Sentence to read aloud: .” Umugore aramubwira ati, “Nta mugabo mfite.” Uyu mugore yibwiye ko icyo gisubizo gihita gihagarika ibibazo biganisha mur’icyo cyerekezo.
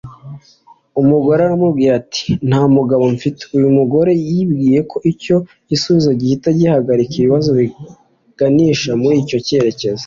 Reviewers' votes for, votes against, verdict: 2, 0, accepted